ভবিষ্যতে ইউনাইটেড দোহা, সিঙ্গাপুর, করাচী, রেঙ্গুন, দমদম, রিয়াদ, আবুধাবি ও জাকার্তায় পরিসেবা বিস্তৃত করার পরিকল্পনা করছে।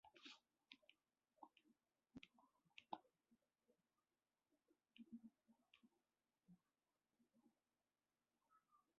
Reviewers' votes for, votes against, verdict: 0, 2, rejected